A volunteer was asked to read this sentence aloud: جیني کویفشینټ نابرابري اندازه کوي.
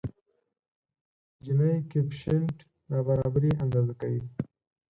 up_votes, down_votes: 0, 4